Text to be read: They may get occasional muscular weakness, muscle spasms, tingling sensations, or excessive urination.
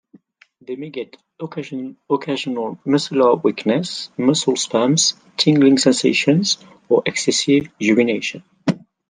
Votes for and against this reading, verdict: 1, 2, rejected